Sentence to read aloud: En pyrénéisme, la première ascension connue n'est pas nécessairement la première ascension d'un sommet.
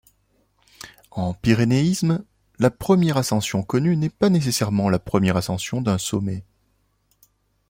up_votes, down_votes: 2, 0